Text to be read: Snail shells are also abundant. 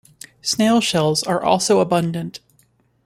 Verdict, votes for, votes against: accepted, 2, 0